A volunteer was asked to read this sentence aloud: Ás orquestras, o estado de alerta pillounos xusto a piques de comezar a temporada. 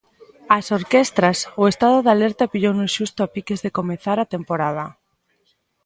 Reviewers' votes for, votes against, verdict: 2, 0, accepted